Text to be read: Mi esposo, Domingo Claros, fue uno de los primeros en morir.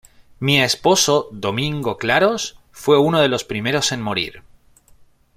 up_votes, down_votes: 2, 0